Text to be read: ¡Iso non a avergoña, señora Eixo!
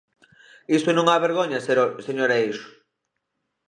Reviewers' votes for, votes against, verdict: 0, 2, rejected